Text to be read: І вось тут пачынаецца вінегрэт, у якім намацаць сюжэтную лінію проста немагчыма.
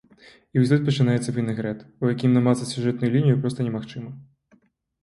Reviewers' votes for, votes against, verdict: 2, 0, accepted